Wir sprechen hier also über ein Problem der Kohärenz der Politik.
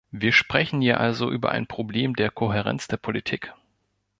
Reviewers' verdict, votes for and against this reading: accepted, 2, 0